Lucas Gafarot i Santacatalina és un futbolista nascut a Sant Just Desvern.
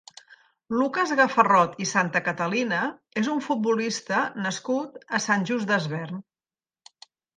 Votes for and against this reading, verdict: 2, 1, accepted